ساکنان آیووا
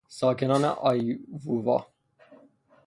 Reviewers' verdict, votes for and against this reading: rejected, 0, 3